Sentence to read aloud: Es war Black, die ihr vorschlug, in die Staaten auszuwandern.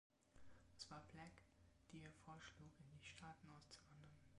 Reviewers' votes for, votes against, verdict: 0, 2, rejected